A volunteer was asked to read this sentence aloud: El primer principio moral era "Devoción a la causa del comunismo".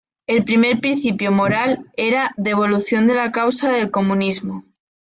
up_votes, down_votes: 1, 2